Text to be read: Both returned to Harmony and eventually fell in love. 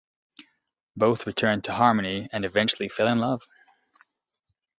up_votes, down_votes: 2, 0